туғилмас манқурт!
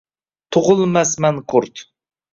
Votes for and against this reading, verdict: 2, 1, accepted